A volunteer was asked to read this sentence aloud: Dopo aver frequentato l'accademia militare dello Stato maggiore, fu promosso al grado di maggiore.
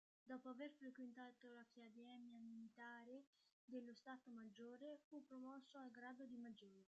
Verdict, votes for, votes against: rejected, 0, 3